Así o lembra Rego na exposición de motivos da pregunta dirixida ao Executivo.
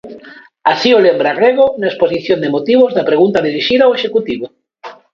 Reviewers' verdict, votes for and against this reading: accepted, 2, 0